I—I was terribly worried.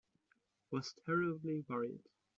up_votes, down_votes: 0, 2